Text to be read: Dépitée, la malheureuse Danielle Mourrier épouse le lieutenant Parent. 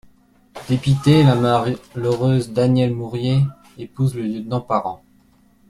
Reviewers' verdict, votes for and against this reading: rejected, 1, 2